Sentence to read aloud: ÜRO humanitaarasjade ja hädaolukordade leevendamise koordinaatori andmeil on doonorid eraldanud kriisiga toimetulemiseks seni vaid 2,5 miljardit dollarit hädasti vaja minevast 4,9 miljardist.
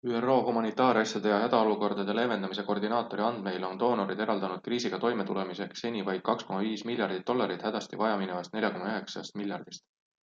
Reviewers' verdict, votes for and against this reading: rejected, 0, 2